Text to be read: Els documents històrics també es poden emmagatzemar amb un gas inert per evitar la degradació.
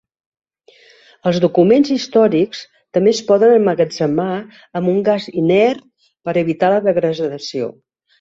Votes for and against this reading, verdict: 0, 2, rejected